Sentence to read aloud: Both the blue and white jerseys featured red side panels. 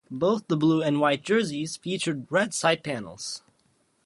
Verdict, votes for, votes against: accepted, 2, 0